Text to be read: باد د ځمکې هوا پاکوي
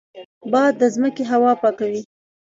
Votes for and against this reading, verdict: 2, 1, accepted